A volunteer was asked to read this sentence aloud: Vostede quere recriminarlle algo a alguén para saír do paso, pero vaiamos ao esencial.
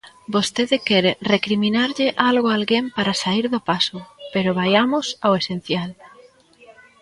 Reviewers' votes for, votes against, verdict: 0, 2, rejected